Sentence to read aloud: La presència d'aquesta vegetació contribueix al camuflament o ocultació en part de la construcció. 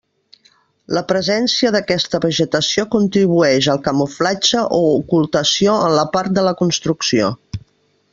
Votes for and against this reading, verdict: 0, 2, rejected